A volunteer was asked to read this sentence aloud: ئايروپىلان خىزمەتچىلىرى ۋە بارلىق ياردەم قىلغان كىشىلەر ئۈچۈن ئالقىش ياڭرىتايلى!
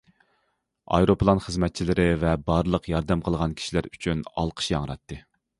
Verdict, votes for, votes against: rejected, 0, 2